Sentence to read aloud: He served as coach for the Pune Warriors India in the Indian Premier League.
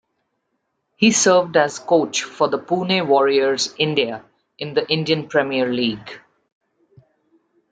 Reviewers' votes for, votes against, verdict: 2, 0, accepted